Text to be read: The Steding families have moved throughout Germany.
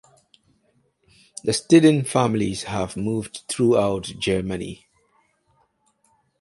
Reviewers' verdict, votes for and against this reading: accepted, 4, 0